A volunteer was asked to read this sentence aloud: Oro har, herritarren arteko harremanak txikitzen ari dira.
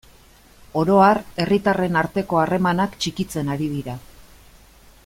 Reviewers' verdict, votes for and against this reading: accepted, 2, 0